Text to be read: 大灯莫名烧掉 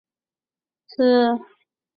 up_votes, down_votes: 1, 3